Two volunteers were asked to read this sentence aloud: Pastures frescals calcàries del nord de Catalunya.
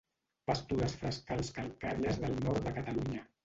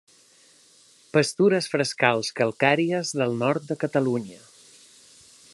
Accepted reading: second